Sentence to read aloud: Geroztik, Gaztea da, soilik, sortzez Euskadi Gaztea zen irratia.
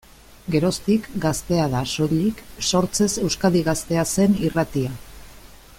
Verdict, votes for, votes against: accepted, 2, 1